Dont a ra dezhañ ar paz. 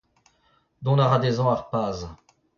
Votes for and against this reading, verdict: 0, 2, rejected